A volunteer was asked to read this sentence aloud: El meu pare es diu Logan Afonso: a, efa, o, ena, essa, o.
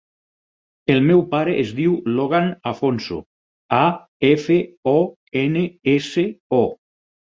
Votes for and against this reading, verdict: 0, 4, rejected